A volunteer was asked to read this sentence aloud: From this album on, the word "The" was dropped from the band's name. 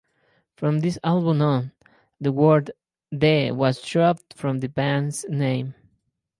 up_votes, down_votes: 0, 2